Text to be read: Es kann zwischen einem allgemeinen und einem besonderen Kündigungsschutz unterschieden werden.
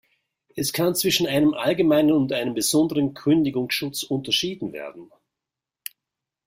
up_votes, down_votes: 2, 0